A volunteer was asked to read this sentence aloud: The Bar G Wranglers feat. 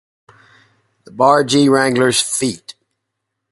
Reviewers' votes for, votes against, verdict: 4, 0, accepted